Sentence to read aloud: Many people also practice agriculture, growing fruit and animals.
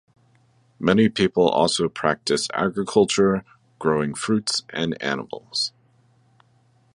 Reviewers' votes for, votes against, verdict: 1, 3, rejected